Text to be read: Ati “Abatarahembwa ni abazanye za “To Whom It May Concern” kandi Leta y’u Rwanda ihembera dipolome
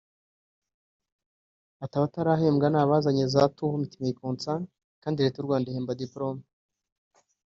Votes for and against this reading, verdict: 0, 3, rejected